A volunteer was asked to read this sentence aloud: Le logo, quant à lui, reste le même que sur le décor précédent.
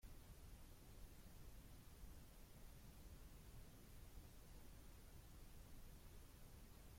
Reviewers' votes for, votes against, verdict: 0, 2, rejected